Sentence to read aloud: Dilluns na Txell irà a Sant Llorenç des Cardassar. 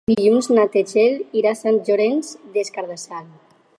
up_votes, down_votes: 2, 2